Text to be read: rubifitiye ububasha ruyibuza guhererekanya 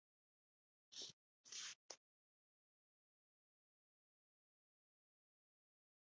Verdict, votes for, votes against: rejected, 1, 3